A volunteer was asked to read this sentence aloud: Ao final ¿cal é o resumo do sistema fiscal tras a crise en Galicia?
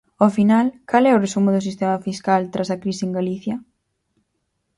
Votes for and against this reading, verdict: 4, 0, accepted